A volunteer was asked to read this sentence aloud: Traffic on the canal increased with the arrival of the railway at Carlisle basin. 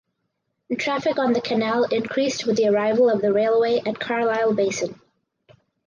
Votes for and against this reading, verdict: 4, 0, accepted